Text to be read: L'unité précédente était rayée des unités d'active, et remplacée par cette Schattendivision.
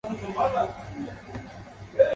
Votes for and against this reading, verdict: 0, 2, rejected